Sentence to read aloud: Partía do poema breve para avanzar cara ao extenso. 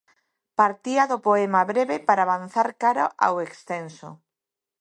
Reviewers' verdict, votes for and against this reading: accepted, 2, 0